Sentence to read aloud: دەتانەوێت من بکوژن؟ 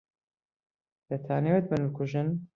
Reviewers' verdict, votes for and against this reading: rejected, 0, 2